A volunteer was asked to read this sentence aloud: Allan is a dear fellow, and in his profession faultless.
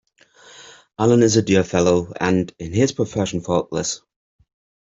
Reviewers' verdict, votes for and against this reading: accepted, 2, 0